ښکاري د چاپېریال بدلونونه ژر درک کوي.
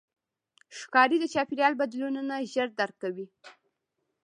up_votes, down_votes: 0, 2